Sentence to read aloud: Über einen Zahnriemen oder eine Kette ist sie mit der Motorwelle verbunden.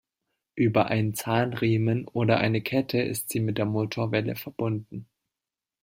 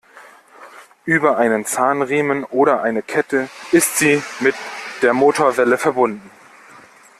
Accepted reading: first